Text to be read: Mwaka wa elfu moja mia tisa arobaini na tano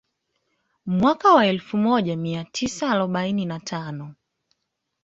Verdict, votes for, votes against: accepted, 2, 0